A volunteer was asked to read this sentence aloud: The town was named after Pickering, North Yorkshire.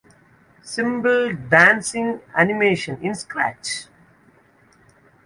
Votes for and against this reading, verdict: 0, 2, rejected